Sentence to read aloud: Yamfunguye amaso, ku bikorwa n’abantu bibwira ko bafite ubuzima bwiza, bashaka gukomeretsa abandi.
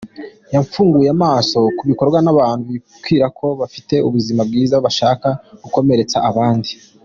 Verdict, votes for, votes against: accepted, 2, 0